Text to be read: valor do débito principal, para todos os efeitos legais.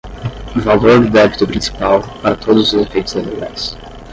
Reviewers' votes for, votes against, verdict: 5, 5, rejected